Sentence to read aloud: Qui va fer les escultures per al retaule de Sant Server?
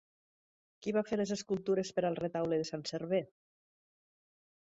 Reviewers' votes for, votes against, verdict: 2, 0, accepted